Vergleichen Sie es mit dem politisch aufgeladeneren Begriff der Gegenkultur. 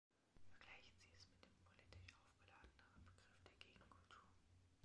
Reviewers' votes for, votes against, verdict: 2, 1, accepted